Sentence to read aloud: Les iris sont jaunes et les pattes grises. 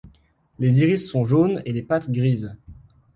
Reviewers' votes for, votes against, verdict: 2, 0, accepted